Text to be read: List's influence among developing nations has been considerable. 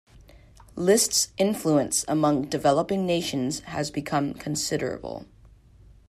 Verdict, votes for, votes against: rejected, 1, 2